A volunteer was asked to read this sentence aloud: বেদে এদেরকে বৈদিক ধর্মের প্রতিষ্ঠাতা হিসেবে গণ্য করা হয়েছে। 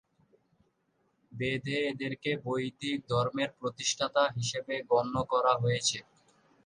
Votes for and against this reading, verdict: 0, 2, rejected